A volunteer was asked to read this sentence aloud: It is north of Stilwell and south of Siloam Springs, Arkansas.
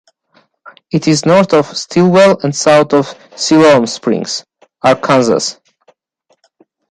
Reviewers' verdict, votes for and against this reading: accepted, 2, 1